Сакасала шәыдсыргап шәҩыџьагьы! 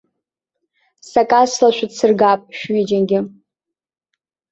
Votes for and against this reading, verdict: 2, 0, accepted